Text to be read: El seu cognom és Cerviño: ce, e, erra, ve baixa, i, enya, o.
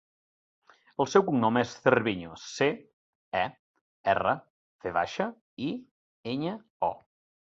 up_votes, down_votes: 3, 0